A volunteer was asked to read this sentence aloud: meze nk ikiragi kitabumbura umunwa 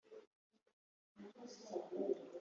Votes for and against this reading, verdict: 0, 2, rejected